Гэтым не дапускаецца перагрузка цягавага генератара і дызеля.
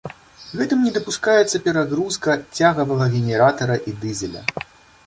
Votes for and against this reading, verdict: 2, 1, accepted